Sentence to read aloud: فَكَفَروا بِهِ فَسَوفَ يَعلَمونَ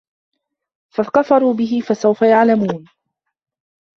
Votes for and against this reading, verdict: 1, 2, rejected